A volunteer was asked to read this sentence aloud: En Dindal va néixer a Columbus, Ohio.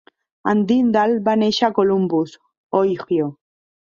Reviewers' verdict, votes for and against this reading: rejected, 0, 4